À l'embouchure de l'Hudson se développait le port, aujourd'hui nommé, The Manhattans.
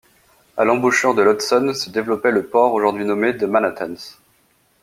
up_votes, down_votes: 2, 0